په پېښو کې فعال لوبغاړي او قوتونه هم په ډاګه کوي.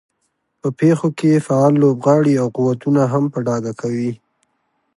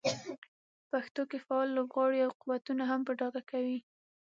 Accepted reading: first